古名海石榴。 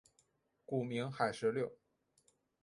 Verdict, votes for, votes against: rejected, 1, 2